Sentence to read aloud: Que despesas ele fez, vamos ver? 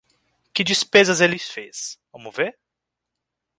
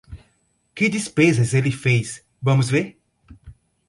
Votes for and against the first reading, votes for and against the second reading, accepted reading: 0, 2, 2, 0, second